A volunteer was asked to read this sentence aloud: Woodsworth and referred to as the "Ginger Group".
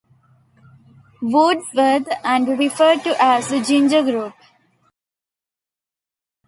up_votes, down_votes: 1, 2